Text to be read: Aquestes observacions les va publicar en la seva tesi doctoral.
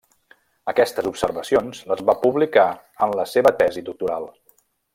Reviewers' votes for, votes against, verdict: 2, 0, accepted